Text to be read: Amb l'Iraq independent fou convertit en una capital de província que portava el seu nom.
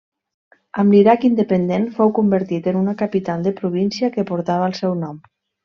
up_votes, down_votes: 3, 0